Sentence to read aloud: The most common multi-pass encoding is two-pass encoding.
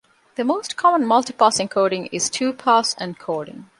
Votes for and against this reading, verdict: 2, 0, accepted